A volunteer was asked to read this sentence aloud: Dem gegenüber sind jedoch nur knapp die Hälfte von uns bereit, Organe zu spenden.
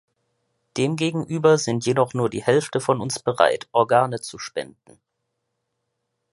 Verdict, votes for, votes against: rejected, 0, 2